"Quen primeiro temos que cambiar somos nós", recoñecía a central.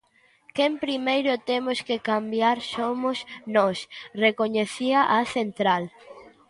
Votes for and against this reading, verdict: 2, 0, accepted